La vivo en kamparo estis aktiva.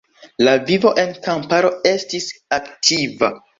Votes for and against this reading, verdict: 2, 1, accepted